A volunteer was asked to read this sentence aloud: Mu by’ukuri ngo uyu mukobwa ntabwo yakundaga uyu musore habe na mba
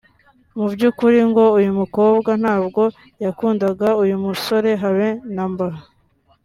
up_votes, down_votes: 2, 1